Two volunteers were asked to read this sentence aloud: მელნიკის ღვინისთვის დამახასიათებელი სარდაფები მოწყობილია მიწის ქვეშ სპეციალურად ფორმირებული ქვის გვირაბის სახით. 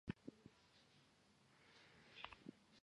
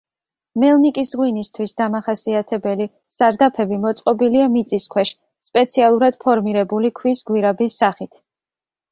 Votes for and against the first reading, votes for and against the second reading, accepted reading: 1, 2, 2, 0, second